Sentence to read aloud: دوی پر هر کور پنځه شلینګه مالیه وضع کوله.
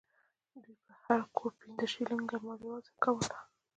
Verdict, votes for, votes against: rejected, 1, 2